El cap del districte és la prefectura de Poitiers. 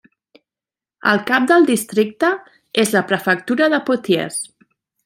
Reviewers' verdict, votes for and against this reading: rejected, 1, 2